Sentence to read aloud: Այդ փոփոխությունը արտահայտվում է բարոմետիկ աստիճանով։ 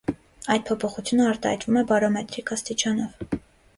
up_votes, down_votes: 2, 0